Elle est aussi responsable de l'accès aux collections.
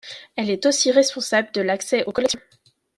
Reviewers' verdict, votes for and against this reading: rejected, 0, 2